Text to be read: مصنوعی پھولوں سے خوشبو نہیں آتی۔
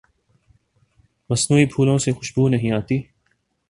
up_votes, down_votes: 2, 0